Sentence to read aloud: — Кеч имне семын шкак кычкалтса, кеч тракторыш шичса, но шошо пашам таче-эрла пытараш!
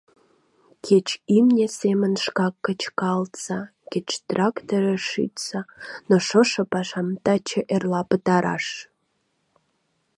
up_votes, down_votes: 3, 0